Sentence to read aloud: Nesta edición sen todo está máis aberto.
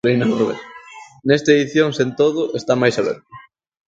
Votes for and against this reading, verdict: 0, 2, rejected